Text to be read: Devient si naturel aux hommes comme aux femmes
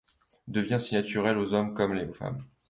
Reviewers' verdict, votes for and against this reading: rejected, 1, 2